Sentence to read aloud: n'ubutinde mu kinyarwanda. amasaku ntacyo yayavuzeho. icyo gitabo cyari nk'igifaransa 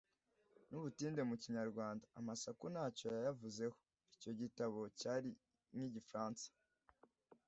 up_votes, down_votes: 2, 0